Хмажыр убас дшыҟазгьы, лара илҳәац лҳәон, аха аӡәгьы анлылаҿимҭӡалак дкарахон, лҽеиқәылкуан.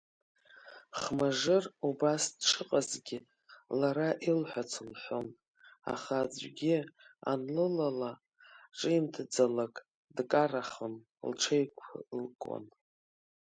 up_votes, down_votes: 1, 2